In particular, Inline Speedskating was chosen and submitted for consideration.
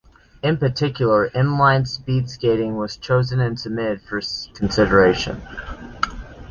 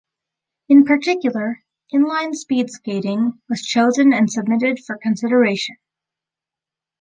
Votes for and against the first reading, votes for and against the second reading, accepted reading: 0, 2, 3, 0, second